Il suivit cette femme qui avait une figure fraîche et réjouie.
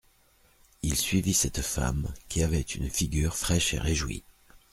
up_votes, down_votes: 2, 0